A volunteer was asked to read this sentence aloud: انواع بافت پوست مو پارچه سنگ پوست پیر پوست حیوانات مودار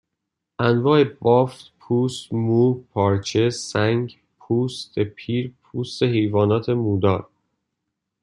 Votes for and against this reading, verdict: 2, 0, accepted